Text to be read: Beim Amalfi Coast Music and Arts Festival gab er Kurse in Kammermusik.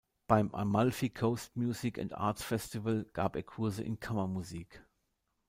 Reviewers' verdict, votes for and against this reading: accepted, 2, 0